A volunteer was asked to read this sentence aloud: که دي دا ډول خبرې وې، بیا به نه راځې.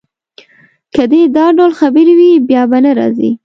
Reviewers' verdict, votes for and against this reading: accepted, 2, 0